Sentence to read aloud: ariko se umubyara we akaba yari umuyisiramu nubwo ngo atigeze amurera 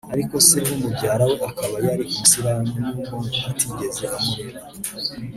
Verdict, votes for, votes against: accepted, 2, 1